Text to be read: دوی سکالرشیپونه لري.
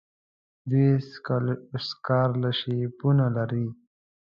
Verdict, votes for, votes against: rejected, 1, 2